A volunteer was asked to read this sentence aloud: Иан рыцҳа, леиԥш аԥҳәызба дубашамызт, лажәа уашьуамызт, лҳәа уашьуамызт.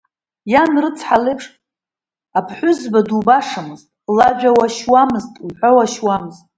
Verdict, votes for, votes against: rejected, 1, 2